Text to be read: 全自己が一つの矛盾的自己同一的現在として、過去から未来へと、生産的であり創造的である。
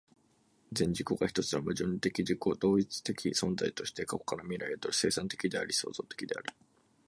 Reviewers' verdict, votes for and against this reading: rejected, 0, 2